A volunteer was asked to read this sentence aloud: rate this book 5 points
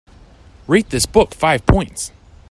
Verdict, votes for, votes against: rejected, 0, 2